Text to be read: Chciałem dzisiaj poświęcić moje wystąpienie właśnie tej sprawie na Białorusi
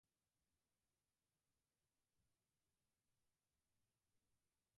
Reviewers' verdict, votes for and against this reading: rejected, 0, 4